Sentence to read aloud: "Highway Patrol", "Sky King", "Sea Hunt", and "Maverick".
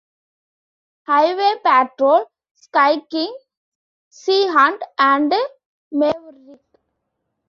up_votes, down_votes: 0, 3